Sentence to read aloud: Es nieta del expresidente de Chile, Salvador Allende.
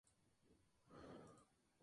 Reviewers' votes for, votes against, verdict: 0, 2, rejected